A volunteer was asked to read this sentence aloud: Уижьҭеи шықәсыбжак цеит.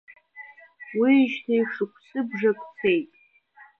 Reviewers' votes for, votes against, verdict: 1, 3, rejected